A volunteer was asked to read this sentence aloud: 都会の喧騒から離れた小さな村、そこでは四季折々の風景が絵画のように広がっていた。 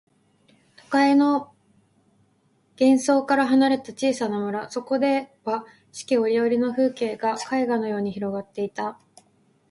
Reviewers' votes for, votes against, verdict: 2, 0, accepted